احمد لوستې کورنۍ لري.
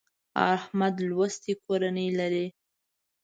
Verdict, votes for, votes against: accepted, 2, 0